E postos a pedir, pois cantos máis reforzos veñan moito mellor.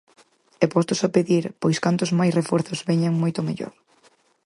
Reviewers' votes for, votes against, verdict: 4, 0, accepted